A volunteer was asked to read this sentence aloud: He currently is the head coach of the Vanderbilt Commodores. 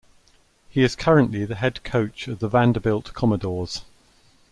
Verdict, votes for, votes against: rejected, 1, 2